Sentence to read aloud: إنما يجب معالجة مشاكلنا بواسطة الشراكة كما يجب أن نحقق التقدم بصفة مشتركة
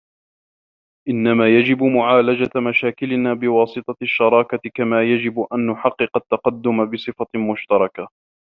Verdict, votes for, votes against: rejected, 1, 2